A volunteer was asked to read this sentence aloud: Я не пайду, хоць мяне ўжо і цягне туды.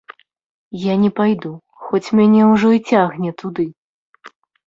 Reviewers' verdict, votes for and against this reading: accepted, 2, 0